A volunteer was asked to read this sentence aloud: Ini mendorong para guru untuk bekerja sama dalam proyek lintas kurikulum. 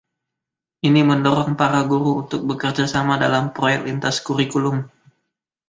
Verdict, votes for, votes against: rejected, 1, 2